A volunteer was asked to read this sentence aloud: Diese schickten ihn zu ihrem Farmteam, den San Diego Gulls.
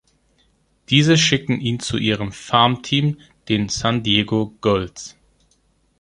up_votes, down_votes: 1, 2